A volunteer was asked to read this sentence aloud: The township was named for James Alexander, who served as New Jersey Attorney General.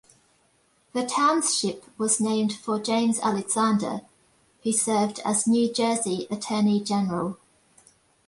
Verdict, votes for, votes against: accepted, 2, 0